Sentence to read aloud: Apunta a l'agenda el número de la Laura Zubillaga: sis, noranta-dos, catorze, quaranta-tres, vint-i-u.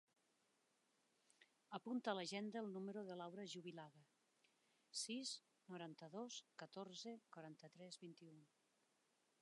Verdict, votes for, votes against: rejected, 1, 2